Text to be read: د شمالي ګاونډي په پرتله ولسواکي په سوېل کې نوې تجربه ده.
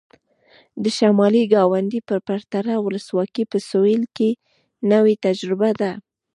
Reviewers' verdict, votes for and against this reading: rejected, 1, 2